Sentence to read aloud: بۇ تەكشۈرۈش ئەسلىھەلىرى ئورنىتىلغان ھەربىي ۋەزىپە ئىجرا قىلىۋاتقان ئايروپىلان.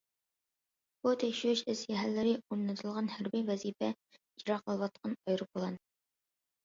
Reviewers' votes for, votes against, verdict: 2, 0, accepted